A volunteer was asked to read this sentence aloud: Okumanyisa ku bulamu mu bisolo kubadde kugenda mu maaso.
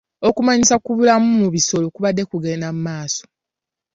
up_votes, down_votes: 3, 0